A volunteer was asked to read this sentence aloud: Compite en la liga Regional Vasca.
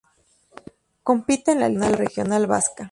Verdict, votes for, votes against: accepted, 2, 0